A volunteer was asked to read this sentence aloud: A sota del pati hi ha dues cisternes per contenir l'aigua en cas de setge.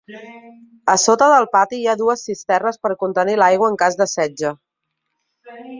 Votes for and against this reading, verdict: 2, 0, accepted